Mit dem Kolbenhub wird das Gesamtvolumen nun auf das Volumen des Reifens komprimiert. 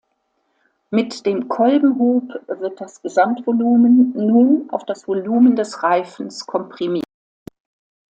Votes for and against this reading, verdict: 2, 1, accepted